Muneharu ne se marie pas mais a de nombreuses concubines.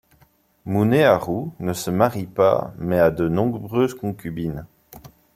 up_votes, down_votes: 2, 0